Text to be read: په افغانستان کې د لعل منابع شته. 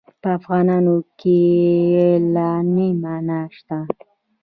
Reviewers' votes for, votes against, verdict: 0, 2, rejected